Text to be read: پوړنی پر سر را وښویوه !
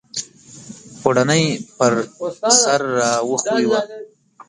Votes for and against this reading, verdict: 0, 2, rejected